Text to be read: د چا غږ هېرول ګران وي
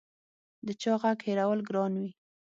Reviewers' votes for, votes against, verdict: 6, 0, accepted